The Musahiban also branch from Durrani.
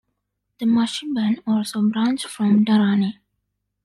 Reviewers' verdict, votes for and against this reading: accepted, 2, 0